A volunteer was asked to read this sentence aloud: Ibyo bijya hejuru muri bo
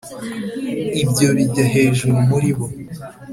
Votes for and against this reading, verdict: 2, 0, accepted